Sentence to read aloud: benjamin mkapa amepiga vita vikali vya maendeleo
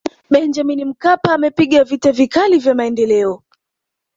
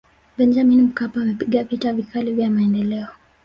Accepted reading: second